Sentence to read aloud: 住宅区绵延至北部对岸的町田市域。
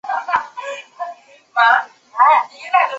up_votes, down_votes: 2, 3